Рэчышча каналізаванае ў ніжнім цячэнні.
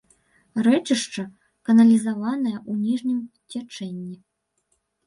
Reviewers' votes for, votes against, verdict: 1, 2, rejected